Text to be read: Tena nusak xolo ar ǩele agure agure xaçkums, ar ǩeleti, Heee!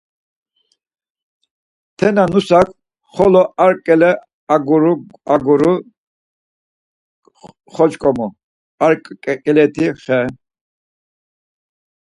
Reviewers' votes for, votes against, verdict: 0, 4, rejected